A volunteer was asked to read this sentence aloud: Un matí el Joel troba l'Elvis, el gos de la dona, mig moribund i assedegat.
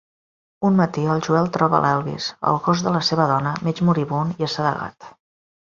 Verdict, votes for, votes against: rejected, 1, 2